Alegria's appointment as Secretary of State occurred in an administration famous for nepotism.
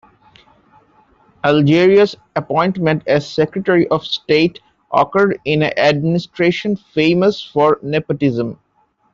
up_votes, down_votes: 0, 2